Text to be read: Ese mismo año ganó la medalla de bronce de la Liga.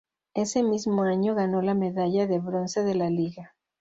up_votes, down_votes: 4, 0